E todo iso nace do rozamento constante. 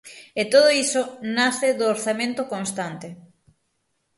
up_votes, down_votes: 3, 6